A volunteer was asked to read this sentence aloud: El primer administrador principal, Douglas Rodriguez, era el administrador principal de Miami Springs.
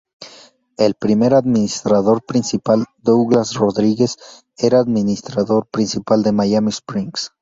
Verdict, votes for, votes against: accepted, 2, 0